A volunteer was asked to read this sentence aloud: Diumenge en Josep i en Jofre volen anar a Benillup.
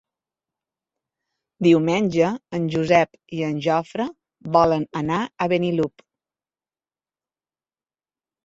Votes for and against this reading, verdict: 1, 2, rejected